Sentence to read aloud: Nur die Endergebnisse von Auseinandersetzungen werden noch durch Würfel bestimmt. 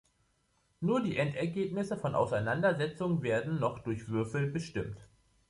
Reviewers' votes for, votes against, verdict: 1, 2, rejected